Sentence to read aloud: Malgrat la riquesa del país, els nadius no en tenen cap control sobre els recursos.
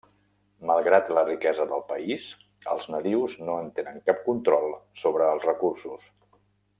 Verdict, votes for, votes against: accepted, 3, 0